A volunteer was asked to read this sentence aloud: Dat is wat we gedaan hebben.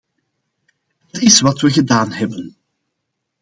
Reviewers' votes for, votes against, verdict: 0, 2, rejected